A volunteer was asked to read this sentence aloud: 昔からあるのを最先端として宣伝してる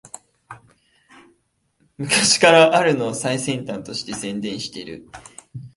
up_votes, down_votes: 1, 2